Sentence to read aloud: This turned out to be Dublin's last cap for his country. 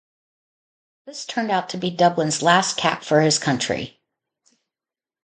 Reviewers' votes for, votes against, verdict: 2, 0, accepted